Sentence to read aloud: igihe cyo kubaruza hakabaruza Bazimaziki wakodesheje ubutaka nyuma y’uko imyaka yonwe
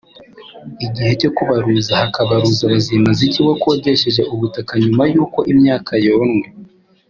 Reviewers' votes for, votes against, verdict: 2, 0, accepted